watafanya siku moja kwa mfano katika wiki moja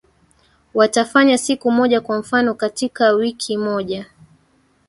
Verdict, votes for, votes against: rejected, 1, 2